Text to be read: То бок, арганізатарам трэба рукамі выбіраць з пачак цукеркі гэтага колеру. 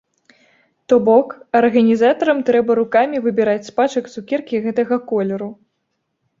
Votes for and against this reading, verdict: 2, 0, accepted